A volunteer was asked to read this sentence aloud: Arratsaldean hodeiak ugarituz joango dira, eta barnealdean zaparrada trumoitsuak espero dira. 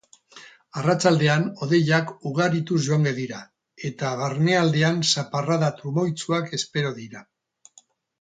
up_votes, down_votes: 0, 2